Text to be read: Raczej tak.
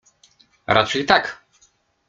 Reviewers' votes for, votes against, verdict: 2, 0, accepted